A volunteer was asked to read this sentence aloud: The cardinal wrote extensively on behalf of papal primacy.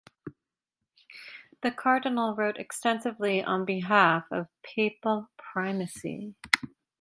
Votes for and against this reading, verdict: 4, 0, accepted